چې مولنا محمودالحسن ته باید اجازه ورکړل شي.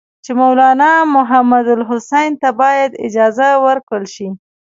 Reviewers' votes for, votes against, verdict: 1, 2, rejected